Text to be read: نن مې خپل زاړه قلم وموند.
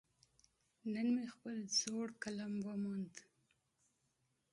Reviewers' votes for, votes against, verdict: 2, 0, accepted